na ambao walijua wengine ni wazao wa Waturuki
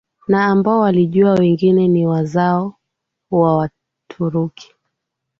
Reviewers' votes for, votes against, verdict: 3, 1, accepted